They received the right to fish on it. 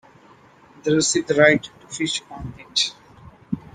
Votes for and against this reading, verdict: 0, 2, rejected